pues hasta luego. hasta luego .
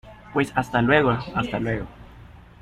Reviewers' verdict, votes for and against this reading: accepted, 2, 0